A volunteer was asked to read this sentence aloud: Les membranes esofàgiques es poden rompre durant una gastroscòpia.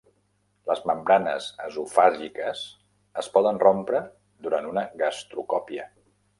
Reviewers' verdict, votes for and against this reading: rejected, 1, 2